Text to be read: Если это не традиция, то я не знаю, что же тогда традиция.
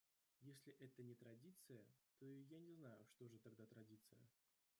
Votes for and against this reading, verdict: 1, 2, rejected